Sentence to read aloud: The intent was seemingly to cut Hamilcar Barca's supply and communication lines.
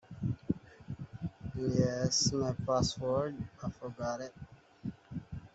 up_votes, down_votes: 0, 2